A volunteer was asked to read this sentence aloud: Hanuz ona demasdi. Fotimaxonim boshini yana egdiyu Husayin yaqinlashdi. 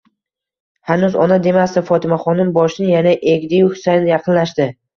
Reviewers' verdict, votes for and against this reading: accepted, 2, 0